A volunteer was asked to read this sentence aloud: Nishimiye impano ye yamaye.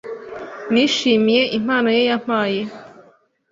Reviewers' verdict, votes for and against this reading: rejected, 1, 2